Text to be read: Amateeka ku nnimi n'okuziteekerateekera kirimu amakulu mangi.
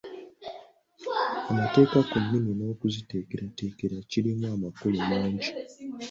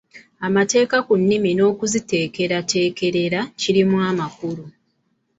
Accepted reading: first